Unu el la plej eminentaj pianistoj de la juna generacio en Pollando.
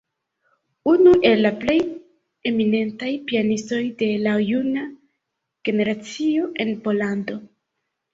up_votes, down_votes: 1, 2